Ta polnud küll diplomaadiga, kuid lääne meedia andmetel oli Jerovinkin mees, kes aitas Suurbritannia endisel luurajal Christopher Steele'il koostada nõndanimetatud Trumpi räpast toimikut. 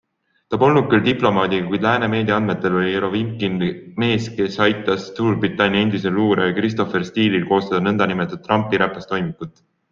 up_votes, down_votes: 3, 0